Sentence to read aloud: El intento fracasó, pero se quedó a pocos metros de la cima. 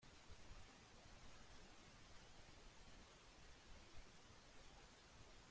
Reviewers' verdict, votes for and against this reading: rejected, 0, 2